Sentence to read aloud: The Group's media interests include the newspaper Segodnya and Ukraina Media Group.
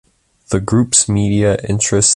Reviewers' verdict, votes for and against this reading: rejected, 0, 2